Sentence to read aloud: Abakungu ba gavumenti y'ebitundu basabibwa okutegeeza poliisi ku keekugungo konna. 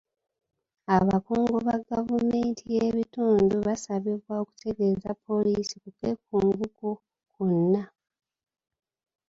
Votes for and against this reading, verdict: 2, 0, accepted